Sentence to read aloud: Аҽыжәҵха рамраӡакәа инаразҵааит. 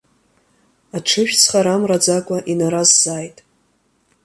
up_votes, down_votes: 2, 1